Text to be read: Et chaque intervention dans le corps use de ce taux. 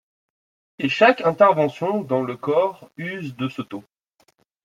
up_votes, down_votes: 2, 0